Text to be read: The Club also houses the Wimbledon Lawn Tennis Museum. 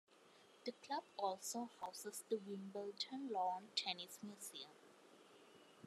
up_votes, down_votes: 2, 0